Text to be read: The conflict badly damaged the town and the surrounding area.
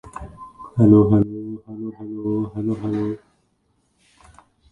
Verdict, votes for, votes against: rejected, 0, 2